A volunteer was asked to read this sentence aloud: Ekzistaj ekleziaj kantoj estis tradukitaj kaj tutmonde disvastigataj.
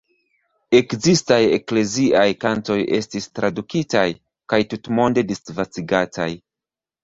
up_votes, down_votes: 1, 2